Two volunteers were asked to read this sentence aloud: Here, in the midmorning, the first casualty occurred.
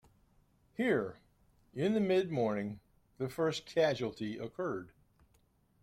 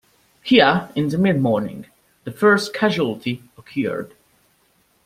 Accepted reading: first